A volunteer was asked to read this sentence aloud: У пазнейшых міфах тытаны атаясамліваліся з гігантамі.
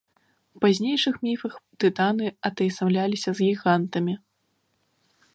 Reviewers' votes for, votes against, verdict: 1, 2, rejected